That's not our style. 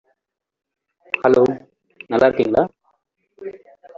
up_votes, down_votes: 0, 2